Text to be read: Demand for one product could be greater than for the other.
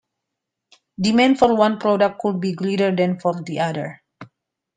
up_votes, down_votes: 1, 2